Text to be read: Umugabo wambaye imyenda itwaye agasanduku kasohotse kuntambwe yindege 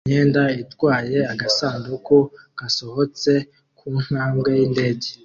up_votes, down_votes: 0, 2